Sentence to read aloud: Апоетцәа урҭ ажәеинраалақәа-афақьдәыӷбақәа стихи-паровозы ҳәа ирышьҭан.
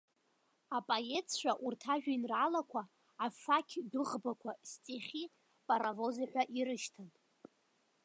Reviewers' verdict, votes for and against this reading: rejected, 1, 2